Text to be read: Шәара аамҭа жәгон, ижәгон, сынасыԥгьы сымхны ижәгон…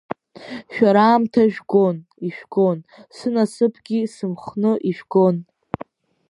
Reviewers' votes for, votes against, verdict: 2, 1, accepted